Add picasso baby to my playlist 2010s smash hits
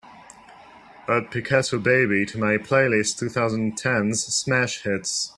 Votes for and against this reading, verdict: 0, 2, rejected